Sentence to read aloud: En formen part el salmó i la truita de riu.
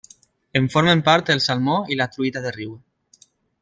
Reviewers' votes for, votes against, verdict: 2, 0, accepted